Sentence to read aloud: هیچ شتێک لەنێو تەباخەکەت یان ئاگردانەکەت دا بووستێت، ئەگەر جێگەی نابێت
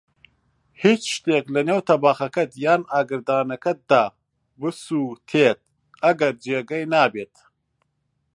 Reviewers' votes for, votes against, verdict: 0, 2, rejected